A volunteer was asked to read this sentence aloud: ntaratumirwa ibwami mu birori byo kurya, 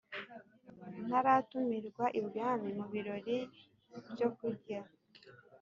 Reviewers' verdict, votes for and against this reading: accepted, 3, 0